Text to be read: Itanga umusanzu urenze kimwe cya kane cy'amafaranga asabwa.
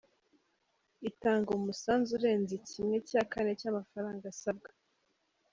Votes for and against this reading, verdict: 2, 0, accepted